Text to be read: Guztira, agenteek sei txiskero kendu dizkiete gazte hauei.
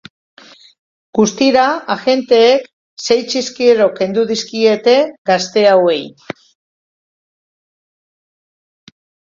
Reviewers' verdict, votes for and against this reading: accepted, 2, 0